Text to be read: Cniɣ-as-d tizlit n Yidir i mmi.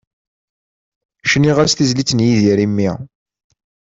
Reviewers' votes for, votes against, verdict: 2, 0, accepted